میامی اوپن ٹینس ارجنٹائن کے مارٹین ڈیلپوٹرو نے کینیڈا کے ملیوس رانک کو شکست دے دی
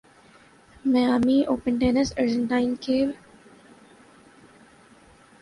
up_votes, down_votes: 0, 2